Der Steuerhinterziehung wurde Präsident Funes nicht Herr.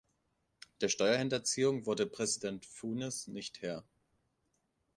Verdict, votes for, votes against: accepted, 2, 1